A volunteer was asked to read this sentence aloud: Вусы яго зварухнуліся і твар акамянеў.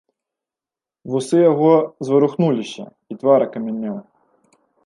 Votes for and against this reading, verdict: 0, 2, rejected